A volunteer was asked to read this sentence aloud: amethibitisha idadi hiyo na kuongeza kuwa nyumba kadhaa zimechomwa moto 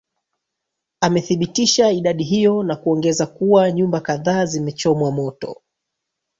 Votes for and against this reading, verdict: 1, 2, rejected